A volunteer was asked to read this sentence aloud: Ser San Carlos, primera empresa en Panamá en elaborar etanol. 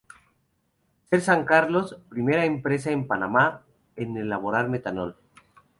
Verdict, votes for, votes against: rejected, 0, 2